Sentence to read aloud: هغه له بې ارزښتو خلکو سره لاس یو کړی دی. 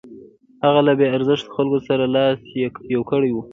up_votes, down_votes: 2, 1